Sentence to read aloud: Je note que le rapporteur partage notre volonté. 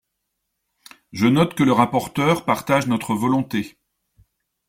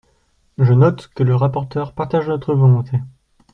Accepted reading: first